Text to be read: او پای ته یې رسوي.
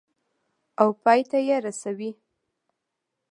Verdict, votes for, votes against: accepted, 2, 0